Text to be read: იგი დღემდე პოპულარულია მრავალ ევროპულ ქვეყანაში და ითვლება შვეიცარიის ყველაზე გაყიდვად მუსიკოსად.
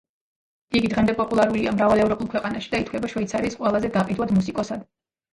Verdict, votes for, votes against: accepted, 2, 0